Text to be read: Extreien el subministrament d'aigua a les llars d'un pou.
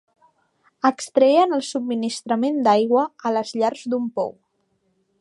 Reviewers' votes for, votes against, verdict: 3, 0, accepted